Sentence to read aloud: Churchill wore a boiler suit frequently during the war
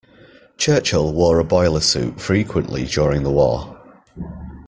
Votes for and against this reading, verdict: 2, 0, accepted